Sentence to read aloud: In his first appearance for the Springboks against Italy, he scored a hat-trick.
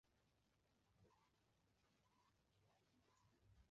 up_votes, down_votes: 0, 2